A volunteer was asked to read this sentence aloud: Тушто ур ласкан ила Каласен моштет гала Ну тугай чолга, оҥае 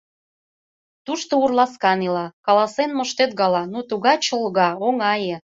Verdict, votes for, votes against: accepted, 2, 0